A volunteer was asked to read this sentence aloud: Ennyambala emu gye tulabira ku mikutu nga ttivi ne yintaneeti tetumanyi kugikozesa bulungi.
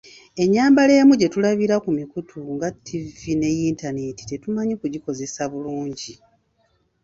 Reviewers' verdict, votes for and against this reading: accepted, 2, 0